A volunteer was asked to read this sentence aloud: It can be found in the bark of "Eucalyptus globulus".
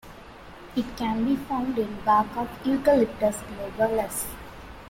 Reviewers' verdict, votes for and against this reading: rejected, 1, 2